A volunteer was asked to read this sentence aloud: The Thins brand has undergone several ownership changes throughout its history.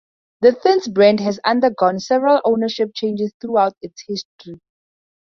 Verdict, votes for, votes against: accepted, 4, 0